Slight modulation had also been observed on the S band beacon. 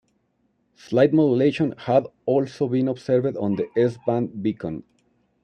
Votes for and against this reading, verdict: 1, 2, rejected